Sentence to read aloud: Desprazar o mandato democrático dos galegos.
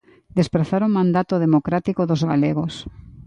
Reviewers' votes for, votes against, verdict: 2, 0, accepted